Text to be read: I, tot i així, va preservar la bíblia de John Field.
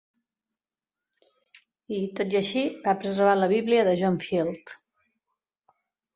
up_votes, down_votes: 3, 1